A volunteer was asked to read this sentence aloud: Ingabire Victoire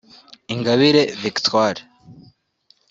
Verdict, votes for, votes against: accepted, 2, 0